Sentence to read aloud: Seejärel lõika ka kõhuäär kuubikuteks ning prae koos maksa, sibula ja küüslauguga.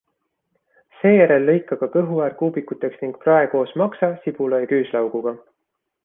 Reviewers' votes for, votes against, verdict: 3, 0, accepted